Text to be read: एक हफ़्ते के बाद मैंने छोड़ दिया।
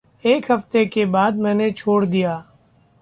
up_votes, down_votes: 2, 0